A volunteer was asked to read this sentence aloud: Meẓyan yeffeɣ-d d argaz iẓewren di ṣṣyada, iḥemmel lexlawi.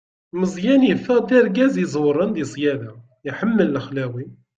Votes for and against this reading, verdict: 2, 0, accepted